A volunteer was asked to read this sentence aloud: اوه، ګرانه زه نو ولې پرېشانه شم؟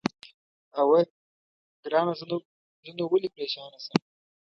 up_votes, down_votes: 1, 2